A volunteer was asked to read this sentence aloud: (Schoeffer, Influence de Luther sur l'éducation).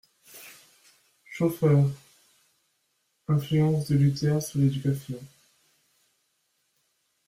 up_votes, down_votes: 2, 0